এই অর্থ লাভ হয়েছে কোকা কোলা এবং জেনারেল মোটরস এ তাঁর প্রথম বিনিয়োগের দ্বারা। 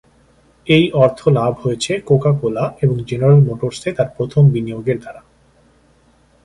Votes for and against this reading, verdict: 2, 0, accepted